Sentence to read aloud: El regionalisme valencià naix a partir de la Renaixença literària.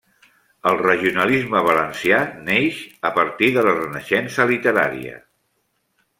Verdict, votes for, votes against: rejected, 0, 2